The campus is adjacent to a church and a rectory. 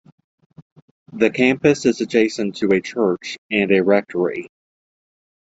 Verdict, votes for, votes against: accepted, 2, 0